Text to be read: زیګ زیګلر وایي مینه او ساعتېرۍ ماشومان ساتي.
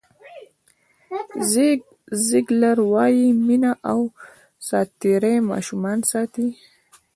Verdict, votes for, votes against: accepted, 2, 0